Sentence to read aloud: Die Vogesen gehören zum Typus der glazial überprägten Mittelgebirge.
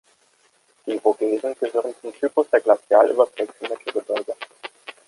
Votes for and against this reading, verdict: 1, 2, rejected